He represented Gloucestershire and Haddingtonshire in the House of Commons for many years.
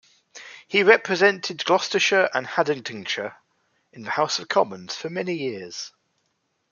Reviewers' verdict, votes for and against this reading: accepted, 2, 1